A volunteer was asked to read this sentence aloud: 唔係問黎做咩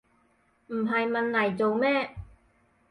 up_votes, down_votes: 4, 0